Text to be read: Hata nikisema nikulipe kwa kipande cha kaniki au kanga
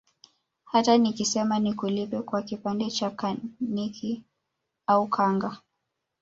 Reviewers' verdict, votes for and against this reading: accepted, 2, 0